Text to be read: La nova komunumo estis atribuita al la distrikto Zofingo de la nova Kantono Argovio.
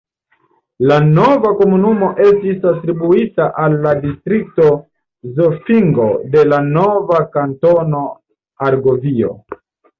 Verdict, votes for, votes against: accepted, 2, 0